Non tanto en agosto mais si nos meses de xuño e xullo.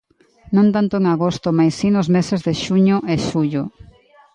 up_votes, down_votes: 1, 2